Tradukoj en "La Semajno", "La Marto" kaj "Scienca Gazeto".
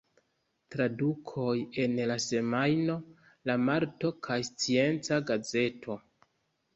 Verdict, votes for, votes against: accepted, 2, 0